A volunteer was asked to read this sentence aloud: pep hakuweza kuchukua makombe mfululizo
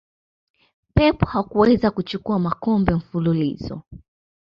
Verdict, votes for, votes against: accepted, 2, 0